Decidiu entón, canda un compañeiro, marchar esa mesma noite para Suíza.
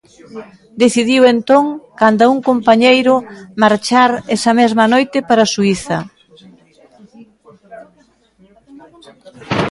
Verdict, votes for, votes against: rejected, 1, 2